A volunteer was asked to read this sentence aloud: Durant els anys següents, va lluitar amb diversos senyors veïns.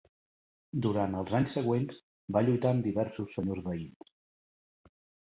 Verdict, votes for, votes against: accepted, 3, 0